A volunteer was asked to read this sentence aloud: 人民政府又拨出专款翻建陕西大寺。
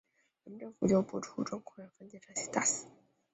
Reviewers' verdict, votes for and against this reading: rejected, 1, 2